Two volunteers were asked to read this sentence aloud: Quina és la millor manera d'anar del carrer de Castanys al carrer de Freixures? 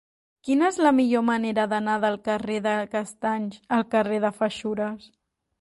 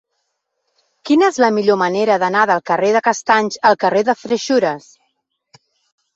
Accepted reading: second